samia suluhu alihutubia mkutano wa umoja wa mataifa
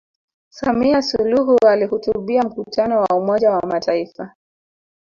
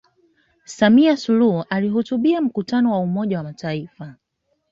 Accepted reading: second